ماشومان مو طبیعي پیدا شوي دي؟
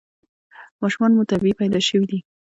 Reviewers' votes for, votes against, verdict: 2, 0, accepted